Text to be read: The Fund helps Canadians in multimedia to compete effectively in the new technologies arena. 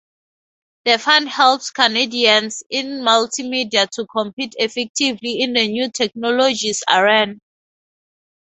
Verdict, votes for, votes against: rejected, 0, 2